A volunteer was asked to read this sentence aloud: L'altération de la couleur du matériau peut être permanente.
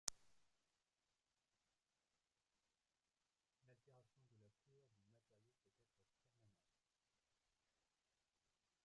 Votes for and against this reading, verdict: 0, 2, rejected